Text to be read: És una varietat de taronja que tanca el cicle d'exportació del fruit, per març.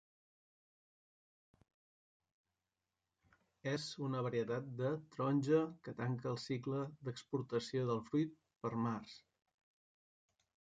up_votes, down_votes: 1, 2